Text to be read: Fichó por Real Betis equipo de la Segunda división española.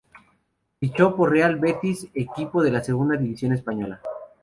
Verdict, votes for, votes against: accepted, 2, 0